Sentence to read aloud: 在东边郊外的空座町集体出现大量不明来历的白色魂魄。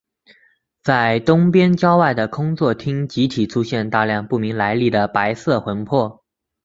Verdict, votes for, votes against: accepted, 3, 0